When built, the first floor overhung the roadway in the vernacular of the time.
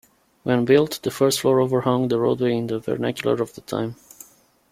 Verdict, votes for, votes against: accepted, 2, 0